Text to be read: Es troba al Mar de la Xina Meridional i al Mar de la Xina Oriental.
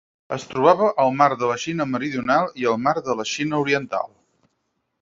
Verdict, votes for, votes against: rejected, 4, 6